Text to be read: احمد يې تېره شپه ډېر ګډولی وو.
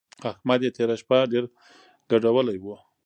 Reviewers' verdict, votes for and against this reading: accepted, 2, 0